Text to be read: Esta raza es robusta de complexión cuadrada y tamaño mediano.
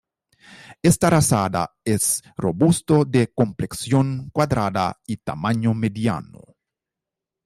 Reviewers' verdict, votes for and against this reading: rejected, 0, 2